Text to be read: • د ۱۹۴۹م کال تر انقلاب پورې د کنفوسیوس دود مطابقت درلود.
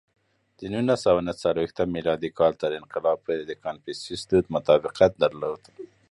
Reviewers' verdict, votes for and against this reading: rejected, 0, 2